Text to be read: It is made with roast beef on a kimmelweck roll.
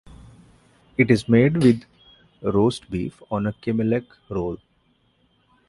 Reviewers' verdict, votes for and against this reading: rejected, 1, 2